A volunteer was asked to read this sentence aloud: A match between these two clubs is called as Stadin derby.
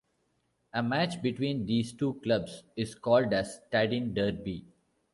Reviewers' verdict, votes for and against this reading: accepted, 2, 0